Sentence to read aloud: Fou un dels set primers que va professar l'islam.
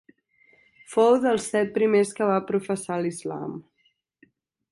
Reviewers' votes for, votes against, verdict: 0, 2, rejected